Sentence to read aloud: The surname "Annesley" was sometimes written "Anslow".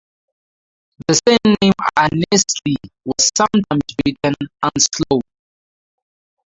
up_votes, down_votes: 0, 2